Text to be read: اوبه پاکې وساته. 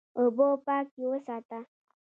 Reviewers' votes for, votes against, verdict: 2, 0, accepted